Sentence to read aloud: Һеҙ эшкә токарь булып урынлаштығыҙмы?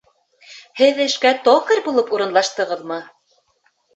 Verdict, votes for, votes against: accepted, 2, 0